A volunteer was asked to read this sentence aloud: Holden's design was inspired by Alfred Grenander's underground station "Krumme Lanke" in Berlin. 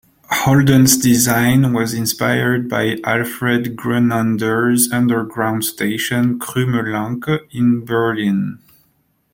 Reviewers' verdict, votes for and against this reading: accepted, 2, 0